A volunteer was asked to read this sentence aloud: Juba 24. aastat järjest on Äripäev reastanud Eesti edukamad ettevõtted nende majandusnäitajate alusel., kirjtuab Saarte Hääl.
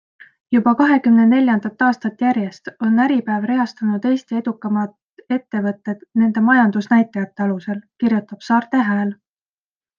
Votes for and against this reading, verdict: 0, 2, rejected